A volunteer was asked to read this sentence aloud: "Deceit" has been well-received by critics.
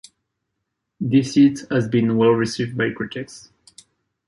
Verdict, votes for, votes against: accepted, 2, 0